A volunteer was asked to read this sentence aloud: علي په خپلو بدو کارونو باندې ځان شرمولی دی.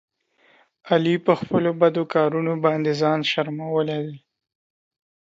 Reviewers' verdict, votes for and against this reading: accepted, 2, 0